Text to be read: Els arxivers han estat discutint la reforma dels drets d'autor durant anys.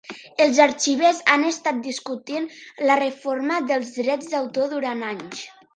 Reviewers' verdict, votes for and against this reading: accepted, 2, 0